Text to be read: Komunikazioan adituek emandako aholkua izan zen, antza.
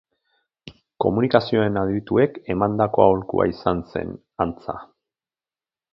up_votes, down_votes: 0, 2